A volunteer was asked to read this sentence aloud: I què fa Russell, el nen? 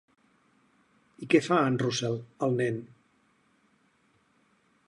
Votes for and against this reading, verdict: 0, 4, rejected